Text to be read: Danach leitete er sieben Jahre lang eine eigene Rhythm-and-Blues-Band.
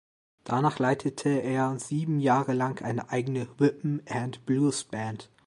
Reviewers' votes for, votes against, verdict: 1, 2, rejected